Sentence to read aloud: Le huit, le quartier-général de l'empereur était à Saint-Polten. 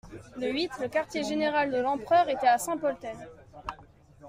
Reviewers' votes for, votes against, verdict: 2, 0, accepted